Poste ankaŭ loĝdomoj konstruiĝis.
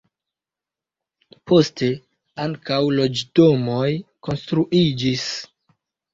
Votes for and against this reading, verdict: 2, 1, accepted